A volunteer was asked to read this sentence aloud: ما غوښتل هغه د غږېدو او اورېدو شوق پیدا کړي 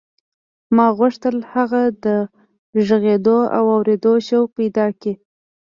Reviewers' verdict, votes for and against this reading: accepted, 2, 1